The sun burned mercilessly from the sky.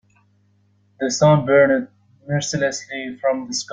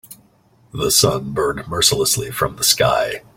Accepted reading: second